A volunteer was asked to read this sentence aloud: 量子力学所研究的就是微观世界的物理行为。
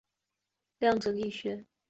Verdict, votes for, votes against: rejected, 0, 2